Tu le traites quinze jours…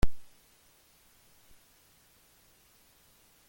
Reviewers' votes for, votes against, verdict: 0, 2, rejected